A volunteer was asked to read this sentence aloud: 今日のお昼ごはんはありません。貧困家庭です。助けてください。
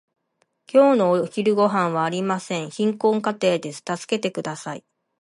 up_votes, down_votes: 2, 0